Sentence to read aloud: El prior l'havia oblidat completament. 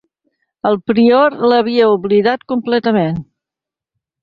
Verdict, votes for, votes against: accepted, 2, 0